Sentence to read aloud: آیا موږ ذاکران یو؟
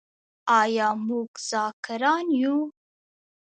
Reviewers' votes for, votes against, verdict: 0, 2, rejected